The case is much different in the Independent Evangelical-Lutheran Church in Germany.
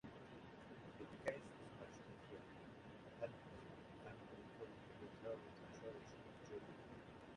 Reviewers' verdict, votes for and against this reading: rejected, 0, 2